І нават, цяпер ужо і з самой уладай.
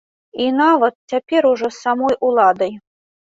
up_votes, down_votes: 1, 2